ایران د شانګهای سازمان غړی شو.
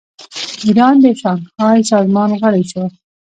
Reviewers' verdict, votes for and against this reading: accepted, 2, 0